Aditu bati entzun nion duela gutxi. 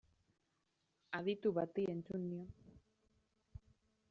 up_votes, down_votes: 0, 2